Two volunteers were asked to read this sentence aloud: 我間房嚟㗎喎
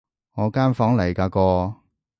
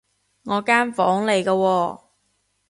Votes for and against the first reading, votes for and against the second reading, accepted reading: 1, 2, 2, 0, second